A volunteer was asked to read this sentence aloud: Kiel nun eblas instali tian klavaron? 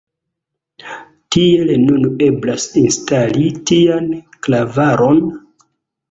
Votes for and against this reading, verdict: 2, 1, accepted